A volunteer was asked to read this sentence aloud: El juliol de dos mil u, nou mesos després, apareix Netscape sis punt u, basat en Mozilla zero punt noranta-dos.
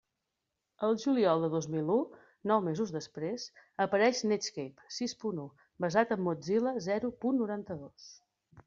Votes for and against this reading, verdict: 3, 0, accepted